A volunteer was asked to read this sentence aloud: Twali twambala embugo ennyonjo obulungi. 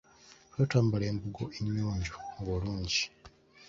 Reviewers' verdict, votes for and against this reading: rejected, 0, 2